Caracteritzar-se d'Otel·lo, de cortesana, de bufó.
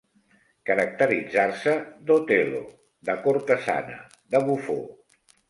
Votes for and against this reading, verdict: 2, 0, accepted